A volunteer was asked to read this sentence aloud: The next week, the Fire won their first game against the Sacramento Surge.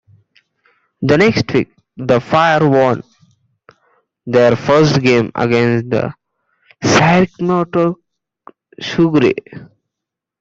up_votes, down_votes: 0, 2